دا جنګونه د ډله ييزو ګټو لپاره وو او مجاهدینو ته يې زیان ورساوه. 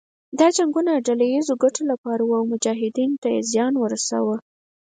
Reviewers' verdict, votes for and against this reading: accepted, 4, 0